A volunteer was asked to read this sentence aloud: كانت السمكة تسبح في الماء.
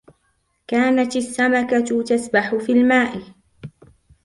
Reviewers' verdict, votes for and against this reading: accepted, 2, 0